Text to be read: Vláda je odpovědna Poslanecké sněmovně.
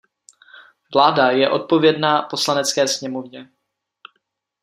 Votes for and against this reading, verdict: 2, 0, accepted